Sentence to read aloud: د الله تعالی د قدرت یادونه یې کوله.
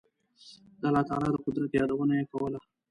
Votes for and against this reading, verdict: 2, 0, accepted